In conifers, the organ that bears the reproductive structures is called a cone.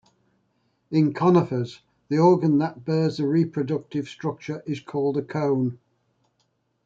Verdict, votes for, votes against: rejected, 1, 2